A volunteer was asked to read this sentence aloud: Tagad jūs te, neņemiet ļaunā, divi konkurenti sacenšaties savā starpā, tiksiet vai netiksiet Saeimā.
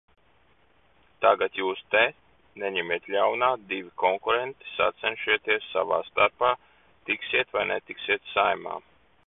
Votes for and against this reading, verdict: 0, 2, rejected